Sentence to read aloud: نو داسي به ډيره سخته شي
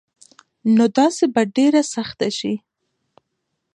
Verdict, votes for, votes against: rejected, 0, 2